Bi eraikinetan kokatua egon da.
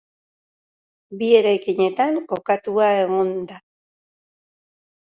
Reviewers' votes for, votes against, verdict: 2, 0, accepted